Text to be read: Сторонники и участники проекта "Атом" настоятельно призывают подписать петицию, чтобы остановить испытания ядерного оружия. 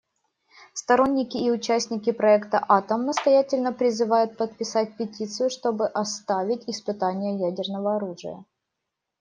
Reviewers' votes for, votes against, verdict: 0, 2, rejected